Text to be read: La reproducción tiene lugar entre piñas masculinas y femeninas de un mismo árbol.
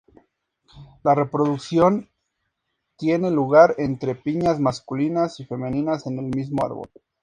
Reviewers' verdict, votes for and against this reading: rejected, 0, 2